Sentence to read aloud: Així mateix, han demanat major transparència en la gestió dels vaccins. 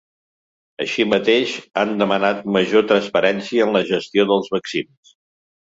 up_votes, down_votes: 2, 0